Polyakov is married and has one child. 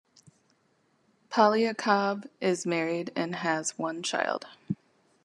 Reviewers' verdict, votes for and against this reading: accepted, 2, 0